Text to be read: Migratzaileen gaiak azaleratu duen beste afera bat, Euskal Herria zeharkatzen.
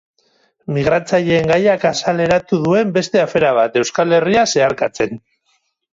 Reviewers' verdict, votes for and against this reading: accepted, 6, 0